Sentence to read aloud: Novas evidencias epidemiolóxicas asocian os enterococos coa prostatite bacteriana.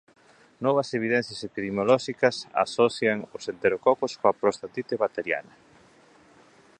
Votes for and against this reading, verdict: 0, 2, rejected